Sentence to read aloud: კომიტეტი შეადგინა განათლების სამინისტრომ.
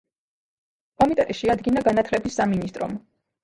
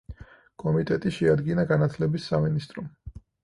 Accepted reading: second